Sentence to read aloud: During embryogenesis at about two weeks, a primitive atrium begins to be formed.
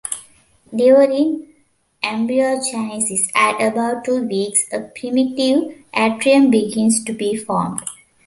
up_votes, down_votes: 1, 2